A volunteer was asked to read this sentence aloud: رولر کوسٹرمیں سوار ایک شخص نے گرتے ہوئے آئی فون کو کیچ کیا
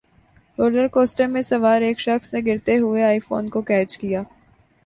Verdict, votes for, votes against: accepted, 2, 1